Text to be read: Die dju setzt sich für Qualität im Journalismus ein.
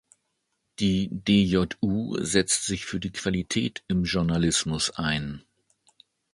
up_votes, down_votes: 1, 2